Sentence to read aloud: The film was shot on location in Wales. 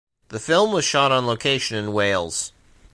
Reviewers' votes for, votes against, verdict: 2, 0, accepted